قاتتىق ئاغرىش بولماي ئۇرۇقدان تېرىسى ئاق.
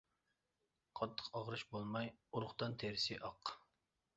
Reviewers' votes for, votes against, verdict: 2, 0, accepted